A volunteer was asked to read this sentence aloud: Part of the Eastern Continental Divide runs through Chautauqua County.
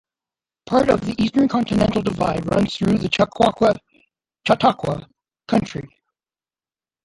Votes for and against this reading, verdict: 1, 2, rejected